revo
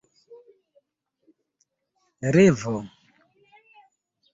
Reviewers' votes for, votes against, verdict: 0, 2, rejected